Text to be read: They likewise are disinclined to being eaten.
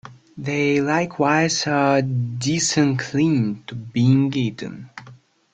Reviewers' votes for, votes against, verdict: 2, 3, rejected